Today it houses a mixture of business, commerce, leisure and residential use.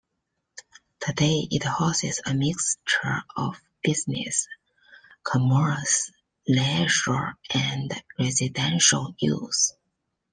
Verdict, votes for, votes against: accepted, 2, 1